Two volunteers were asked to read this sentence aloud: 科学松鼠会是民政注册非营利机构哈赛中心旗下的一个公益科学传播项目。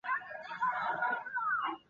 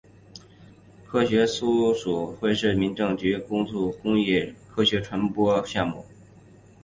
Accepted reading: second